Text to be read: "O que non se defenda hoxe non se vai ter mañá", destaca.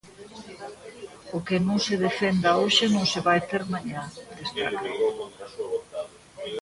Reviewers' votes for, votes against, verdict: 1, 2, rejected